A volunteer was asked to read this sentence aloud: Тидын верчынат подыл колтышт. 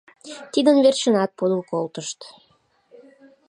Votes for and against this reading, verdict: 2, 0, accepted